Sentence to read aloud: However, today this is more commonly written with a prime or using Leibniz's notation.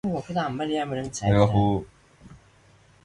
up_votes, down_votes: 0, 2